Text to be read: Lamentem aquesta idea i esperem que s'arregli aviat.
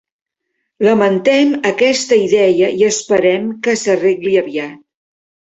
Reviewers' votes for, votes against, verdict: 1, 3, rejected